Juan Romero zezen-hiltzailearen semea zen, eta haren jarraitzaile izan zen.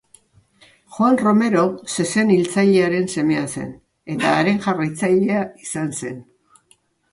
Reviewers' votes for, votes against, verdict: 3, 0, accepted